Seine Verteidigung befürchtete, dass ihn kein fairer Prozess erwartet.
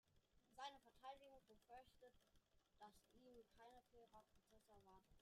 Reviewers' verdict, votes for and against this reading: rejected, 0, 2